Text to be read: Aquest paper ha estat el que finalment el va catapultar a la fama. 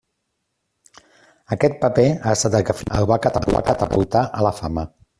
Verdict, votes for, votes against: rejected, 0, 2